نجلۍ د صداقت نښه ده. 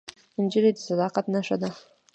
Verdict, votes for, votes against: accepted, 2, 1